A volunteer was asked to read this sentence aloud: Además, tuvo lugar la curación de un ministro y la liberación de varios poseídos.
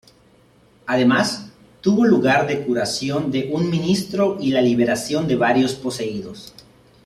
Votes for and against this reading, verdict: 1, 2, rejected